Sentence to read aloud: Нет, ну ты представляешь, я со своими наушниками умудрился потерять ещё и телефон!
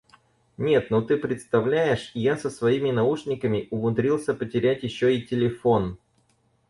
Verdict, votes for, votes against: accepted, 4, 0